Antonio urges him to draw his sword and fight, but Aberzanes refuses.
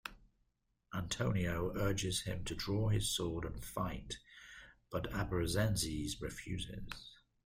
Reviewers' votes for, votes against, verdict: 1, 2, rejected